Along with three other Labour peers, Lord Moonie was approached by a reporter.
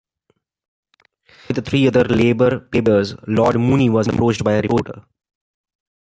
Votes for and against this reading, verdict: 0, 2, rejected